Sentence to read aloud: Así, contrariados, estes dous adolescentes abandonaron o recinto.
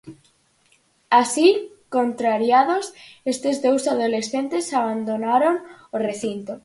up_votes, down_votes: 4, 0